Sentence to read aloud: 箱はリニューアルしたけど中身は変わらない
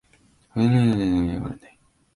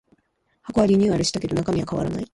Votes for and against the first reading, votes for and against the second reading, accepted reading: 0, 2, 2, 1, second